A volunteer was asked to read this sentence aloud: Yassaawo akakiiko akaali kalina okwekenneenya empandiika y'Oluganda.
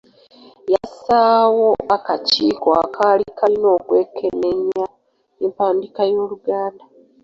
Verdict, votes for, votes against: accepted, 3, 1